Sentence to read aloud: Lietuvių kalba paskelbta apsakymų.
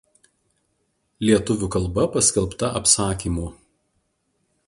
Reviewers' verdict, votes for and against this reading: rejected, 0, 2